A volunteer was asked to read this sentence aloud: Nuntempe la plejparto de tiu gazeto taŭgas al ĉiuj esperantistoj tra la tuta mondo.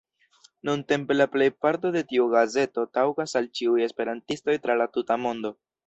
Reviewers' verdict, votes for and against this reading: accepted, 2, 0